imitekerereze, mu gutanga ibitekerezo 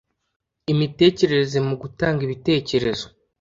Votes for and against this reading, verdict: 2, 0, accepted